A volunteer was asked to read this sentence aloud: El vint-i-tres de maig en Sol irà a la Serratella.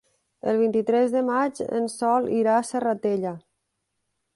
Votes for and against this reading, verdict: 0, 2, rejected